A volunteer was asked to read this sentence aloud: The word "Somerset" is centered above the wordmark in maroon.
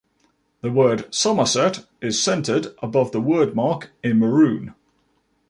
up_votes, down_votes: 2, 0